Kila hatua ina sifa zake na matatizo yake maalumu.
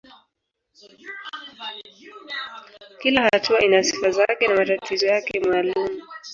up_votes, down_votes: 4, 11